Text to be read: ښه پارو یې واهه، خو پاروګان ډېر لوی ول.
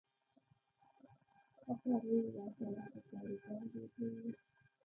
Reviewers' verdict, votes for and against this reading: rejected, 0, 2